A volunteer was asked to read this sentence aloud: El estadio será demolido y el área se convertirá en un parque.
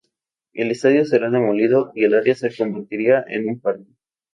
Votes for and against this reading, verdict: 2, 2, rejected